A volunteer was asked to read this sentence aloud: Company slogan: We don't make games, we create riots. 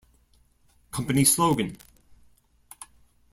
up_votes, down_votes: 0, 2